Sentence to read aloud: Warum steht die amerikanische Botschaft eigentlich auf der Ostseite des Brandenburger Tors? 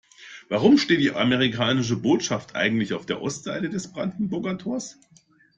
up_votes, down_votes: 2, 0